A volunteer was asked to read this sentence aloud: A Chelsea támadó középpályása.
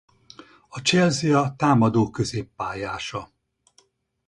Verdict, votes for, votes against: rejected, 2, 4